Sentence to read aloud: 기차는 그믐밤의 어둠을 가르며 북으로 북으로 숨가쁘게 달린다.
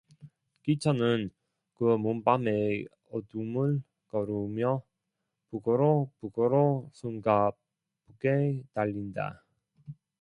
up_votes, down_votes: 0, 2